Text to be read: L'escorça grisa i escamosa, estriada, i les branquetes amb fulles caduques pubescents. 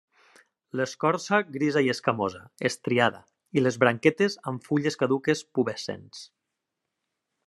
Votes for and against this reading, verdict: 2, 0, accepted